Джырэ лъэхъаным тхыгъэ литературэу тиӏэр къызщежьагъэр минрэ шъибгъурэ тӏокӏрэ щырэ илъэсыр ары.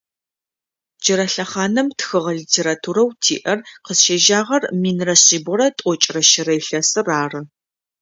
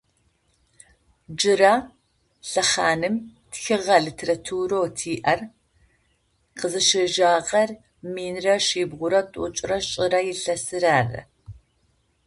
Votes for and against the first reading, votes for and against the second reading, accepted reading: 2, 0, 0, 2, first